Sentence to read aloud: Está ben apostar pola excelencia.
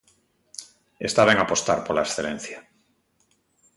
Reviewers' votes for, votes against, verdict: 2, 0, accepted